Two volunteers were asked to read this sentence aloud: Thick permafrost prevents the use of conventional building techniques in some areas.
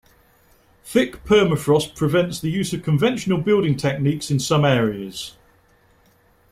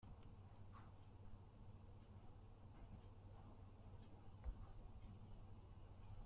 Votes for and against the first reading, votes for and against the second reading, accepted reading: 2, 0, 0, 2, first